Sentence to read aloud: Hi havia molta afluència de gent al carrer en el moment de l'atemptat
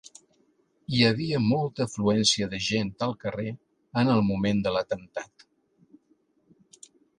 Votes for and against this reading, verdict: 3, 0, accepted